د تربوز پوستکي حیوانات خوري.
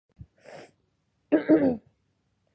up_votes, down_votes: 2, 0